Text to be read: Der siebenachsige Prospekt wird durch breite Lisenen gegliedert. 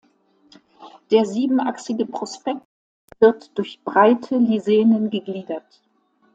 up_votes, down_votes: 2, 1